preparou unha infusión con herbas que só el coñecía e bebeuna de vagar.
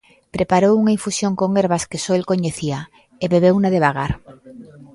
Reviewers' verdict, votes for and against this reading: rejected, 1, 2